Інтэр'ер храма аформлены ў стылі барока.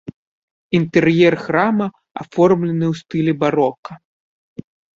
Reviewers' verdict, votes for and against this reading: accepted, 5, 0